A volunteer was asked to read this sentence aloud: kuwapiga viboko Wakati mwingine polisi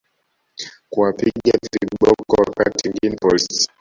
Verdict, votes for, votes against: rejected, 0, 2